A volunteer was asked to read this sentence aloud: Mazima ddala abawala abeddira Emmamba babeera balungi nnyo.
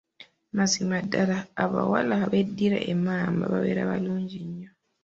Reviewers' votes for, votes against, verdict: 1, 2, rejected